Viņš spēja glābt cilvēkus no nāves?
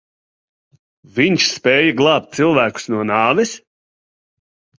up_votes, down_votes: 5, 0